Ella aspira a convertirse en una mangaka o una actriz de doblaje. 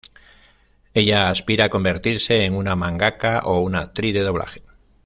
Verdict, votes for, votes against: rejected, 1, 2